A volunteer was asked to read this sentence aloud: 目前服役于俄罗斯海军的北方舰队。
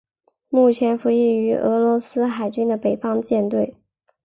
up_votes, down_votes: 3, 0